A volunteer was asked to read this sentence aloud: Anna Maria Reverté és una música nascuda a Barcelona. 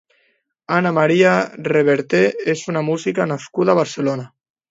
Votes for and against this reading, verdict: 2, 0, accepted